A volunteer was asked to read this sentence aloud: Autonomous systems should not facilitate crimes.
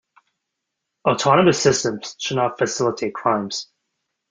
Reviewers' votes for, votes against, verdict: 2, 0, accepted